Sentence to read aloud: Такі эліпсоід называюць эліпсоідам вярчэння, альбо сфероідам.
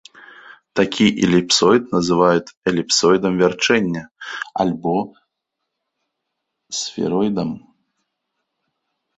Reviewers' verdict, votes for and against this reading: accepted, 2, 0